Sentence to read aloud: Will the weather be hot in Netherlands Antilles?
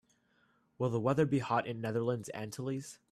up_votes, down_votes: 2, 0